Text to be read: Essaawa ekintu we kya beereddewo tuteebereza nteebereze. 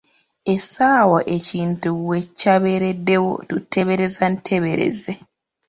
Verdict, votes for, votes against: accepted, 2, 0